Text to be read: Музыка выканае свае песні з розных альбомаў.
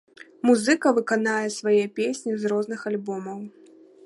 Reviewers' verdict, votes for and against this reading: rejected, 1, 2